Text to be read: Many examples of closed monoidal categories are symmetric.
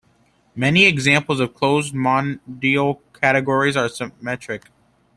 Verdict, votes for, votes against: rejected, 0, 2